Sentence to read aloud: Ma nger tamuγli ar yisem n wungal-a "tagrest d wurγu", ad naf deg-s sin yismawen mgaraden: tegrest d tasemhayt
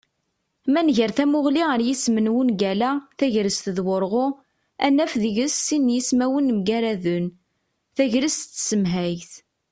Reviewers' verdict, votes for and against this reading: accepted, 2, 0